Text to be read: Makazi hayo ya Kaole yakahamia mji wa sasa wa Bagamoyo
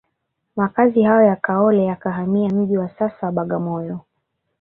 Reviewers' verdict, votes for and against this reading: rejected, 1, 2